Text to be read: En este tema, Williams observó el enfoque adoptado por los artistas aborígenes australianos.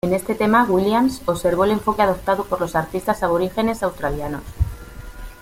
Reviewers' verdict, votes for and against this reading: rejected, 1, 2